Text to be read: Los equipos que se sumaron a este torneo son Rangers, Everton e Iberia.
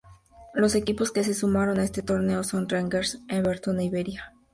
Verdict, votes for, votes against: accepted, 2, 0